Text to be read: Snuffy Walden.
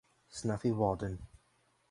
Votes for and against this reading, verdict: 4, 0, accepted